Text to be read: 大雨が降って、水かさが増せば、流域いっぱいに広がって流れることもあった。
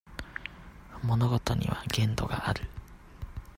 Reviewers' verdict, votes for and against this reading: rejected, 0, 2